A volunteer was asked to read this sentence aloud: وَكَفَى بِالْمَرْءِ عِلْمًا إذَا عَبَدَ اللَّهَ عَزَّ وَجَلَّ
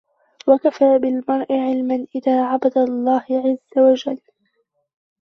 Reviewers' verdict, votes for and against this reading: rejected, 1, 2